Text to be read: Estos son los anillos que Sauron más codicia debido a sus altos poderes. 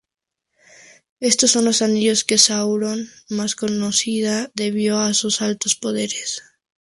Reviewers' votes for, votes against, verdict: 0, 2, rejected